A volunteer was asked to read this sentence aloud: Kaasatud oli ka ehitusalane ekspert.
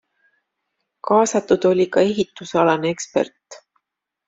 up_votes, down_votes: 2, 0